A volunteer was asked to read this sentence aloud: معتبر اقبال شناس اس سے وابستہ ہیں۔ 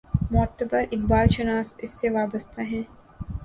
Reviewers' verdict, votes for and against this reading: accepted, 3, 0